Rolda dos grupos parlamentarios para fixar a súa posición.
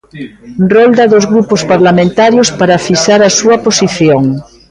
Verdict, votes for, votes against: rejected, 0, 2